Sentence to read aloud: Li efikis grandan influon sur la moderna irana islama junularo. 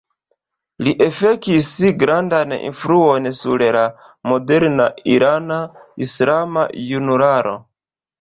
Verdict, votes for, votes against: rejected, 1, 2